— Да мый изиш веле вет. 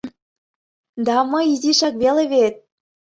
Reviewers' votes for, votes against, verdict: 1, 2, rejected